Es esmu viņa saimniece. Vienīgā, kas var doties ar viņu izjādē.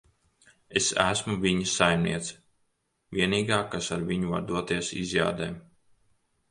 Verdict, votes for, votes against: rejected, 1, 3